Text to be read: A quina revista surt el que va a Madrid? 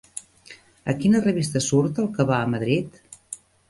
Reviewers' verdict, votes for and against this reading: rejected, 1, 2